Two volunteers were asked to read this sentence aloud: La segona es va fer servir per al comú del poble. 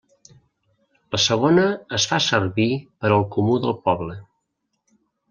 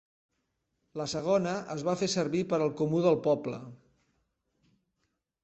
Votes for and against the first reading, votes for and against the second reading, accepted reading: 0, 2, 3, 0, second